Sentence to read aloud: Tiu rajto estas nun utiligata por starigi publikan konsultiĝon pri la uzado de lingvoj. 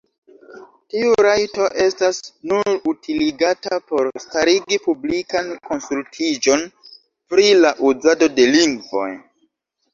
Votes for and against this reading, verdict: 1, 2, rejected